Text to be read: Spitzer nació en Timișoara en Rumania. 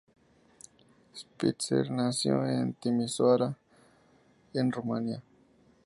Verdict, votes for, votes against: accepted, 2, 0